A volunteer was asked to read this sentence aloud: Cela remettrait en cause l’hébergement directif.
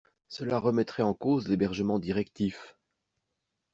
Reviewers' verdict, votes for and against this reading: accepted, 2, 0